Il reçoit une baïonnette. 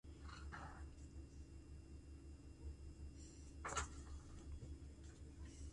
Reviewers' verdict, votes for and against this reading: rejected, 0, 2